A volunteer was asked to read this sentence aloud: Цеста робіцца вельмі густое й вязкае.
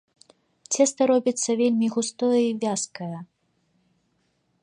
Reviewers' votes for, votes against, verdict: 2, 0, accepted